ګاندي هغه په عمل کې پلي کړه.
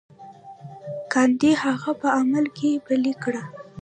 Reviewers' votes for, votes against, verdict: 1, 2, rejected